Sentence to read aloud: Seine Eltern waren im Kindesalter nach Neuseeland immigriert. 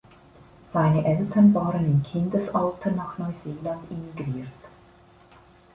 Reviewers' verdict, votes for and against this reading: rejected, 1, 2